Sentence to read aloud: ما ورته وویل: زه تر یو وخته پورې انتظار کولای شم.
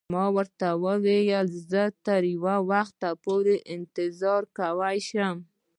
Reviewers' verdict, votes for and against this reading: rejected, 1, 2